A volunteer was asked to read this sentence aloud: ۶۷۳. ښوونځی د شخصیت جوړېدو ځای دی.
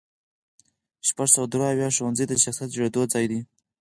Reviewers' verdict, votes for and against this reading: rejected, 0, 2